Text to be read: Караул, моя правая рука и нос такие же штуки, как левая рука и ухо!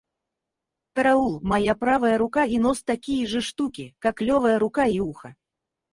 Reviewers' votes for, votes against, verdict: 0, 4, rejected